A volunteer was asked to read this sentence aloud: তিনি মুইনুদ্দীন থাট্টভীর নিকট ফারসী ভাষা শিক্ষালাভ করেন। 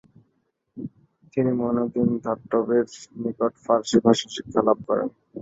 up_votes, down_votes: 1, 2